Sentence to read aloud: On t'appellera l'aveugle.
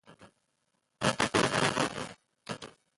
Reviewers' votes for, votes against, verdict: 0, 3, rejected